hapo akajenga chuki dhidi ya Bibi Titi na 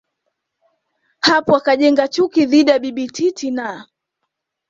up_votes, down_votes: 2, 0